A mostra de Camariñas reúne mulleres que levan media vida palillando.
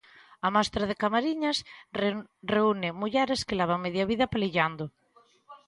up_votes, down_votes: 0, 3